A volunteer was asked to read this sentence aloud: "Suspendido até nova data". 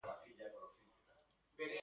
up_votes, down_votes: 0, 2